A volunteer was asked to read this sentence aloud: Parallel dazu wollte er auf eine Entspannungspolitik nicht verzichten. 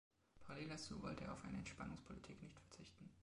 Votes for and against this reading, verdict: 0, 2, rejected